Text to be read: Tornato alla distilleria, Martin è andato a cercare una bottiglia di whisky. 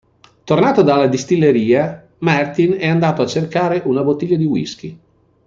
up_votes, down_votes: 0, 2